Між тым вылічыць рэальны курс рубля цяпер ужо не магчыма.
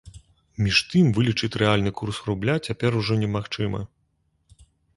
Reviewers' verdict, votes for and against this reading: accepted, 2, 0